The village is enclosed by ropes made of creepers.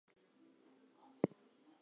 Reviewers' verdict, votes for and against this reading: rejected, 0, 4